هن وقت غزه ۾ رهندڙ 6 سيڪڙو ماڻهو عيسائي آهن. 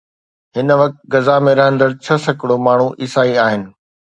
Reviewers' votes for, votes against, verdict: 0, 2, rejected